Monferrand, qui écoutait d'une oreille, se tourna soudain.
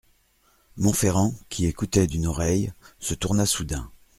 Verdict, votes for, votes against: accepted, 2, 0